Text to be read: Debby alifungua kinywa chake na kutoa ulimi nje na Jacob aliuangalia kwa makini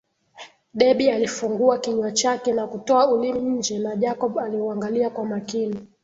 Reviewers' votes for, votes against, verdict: 2, 0, accepted